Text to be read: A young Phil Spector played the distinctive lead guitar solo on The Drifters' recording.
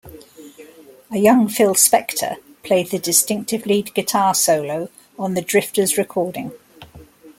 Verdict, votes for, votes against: accepted, 2, 0